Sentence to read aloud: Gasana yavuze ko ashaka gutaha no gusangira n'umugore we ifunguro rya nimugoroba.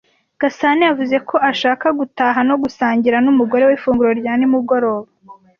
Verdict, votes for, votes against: accepted, 2, 0